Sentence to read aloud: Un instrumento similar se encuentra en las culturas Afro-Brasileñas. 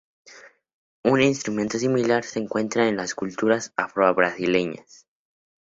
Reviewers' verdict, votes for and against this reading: accepted, 4, 0